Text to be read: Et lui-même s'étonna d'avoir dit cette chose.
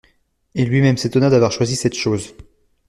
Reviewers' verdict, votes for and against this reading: rejected, 1, 2